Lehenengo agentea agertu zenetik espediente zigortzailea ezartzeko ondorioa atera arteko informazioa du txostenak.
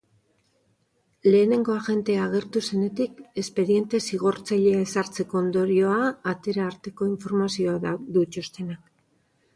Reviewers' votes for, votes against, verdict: 0, 2, rejected